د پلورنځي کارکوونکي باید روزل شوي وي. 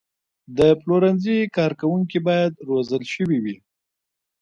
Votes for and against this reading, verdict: 1, 2, rejected